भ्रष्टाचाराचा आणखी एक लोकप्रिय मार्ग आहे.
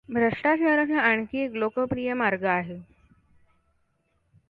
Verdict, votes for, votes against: accepted, 2, 0